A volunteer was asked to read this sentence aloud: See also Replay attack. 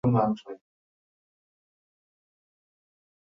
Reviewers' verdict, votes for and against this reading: rejected, 0, 2